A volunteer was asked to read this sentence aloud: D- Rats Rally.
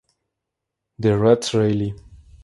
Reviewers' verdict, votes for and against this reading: accepted, 2, 0